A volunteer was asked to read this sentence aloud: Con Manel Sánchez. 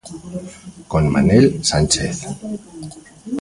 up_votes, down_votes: 2, 0